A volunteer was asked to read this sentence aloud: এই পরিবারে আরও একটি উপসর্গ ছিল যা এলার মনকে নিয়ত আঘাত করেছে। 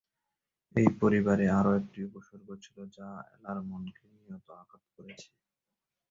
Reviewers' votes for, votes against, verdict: 0, 2, rejected